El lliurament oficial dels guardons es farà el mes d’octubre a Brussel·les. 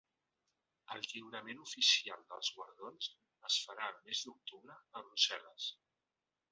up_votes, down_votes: 1, 4